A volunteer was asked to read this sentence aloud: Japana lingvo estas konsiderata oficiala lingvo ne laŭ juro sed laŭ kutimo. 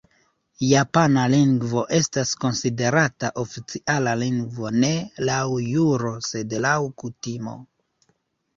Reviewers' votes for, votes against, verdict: 2, 1, accepted